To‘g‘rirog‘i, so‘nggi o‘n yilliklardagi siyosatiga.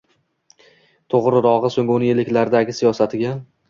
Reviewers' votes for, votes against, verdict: 1, 2, rejected